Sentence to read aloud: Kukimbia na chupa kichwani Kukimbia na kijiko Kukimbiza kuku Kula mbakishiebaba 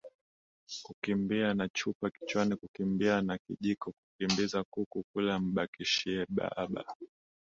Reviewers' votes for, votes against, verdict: 2, 0, accepted